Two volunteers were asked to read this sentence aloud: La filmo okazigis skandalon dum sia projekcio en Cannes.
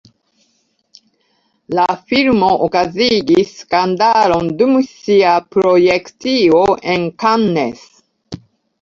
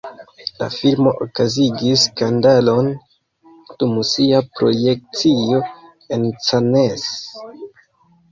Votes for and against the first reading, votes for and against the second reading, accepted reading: 2, 0, 1, 2, first